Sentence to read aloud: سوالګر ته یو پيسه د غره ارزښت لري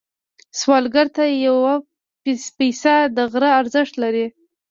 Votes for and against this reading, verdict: 2, 0, accepted